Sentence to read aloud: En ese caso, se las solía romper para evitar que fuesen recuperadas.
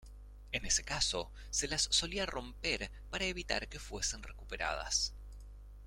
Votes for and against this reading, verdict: 2, 0, accepted